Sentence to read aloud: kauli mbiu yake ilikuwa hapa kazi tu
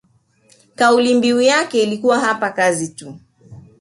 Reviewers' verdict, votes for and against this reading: rejected, 0, 2